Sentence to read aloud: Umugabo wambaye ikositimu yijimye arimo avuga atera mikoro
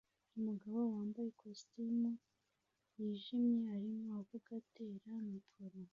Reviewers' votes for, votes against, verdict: 2, 1, accepted